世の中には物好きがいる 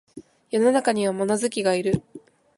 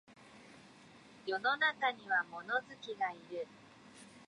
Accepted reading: first